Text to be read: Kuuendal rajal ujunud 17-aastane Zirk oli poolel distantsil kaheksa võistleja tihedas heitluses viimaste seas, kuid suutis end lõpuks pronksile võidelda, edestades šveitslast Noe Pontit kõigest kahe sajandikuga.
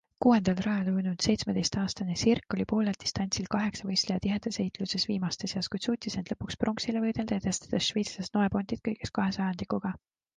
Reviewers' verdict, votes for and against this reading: rejected, 0, 2